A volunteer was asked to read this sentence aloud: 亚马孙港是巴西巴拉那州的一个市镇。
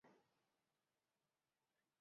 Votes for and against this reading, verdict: 1, 4, rejected